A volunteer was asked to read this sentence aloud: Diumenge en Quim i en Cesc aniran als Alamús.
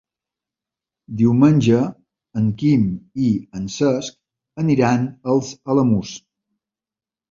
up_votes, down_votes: 5, 0